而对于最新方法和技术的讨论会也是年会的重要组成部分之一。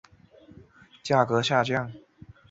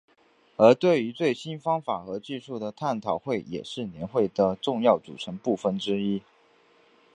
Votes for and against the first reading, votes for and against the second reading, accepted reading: 0, 2, 3, 0, second